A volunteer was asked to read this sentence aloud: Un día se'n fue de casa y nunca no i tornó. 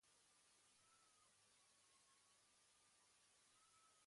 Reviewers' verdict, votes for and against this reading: rejected, 1, 2